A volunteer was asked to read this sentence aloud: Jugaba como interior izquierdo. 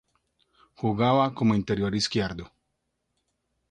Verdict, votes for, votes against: rejected, 0, 2